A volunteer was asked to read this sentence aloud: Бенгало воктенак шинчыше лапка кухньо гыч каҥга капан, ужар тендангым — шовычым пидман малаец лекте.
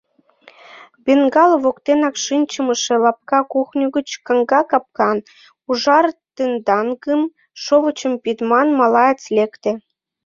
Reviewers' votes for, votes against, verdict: 0, 2, rejected